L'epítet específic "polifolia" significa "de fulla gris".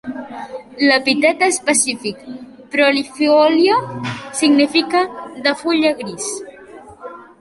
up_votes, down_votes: 0, 2